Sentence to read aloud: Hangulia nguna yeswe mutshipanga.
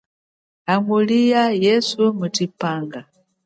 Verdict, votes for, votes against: accepted, 2, 0